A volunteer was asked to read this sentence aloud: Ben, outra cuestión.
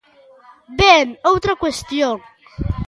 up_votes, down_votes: 3, 0